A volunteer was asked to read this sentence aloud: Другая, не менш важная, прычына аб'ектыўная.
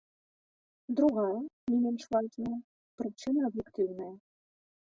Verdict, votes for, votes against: rejected, 1, 2